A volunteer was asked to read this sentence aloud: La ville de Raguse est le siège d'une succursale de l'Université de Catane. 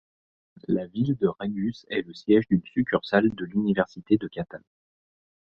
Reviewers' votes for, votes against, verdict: 2, 0, accepted